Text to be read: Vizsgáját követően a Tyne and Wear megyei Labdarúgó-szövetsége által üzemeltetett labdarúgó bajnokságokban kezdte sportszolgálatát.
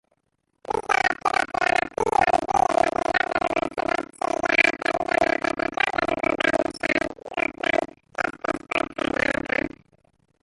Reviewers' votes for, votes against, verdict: 0, 2, rejected